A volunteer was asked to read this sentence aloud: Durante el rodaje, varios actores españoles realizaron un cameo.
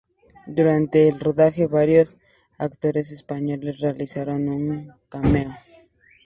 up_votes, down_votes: 2, 0